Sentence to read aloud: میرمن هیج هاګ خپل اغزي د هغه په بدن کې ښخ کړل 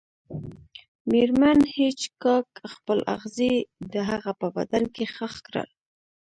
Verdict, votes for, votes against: accepted, 2, 0